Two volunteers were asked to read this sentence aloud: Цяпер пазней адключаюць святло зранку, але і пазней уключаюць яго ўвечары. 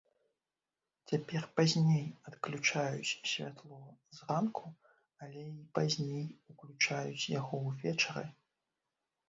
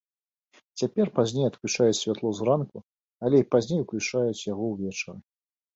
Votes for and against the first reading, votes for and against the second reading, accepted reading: 0, 2, 2, 0, second